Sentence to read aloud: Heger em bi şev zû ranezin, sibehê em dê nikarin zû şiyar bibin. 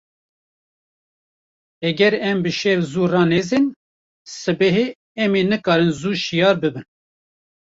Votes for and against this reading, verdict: 1, 2, rejected